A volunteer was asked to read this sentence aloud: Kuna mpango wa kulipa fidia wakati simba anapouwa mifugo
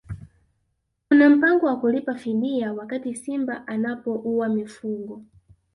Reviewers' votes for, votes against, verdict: 0, 2, rejected